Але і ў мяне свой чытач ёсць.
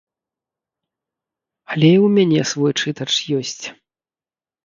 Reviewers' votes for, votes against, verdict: 0, 2, rejected